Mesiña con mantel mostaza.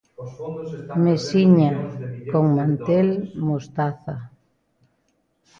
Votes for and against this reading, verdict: 0, 2, rejected